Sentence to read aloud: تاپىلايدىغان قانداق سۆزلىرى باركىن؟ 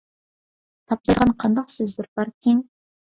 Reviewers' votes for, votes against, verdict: 0, 2, rejected